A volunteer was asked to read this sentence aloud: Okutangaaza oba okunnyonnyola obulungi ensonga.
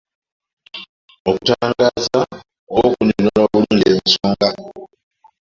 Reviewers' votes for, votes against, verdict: 0, 2, rejected